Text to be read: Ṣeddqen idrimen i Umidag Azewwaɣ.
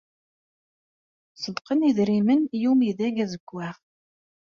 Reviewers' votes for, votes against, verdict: 3, 0, accepted